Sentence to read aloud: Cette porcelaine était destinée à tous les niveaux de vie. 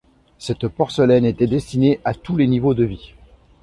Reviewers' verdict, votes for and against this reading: accepted, 2, 0